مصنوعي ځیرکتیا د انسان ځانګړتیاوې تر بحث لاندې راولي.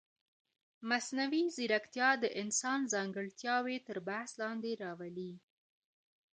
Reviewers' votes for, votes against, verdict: 1, 2, rejected